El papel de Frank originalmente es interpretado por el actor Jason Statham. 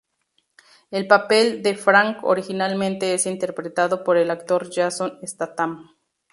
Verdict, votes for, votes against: accepted, 2, 0